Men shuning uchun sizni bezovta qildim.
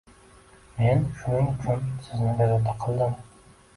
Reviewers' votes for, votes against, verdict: 1, 2, rejected